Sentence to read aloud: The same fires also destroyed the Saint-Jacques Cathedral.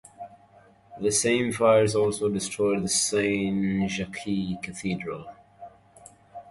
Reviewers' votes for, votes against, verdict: 2, 0, accepted